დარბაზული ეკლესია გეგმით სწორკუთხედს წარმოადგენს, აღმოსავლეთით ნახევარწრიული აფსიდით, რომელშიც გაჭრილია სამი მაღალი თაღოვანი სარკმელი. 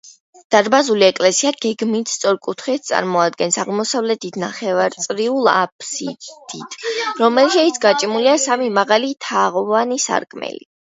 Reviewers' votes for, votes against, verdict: 0, 2, rejected